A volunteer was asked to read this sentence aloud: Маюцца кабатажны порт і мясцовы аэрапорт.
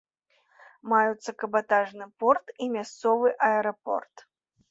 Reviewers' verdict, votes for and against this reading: accepted, 2, 0